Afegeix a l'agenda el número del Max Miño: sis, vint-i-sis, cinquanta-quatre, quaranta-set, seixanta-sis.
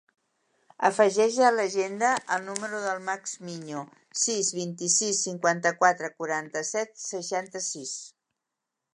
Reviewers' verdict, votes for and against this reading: accepted, 2, 1